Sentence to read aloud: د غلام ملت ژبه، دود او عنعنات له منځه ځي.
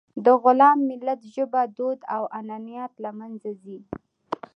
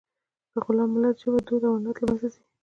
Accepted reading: first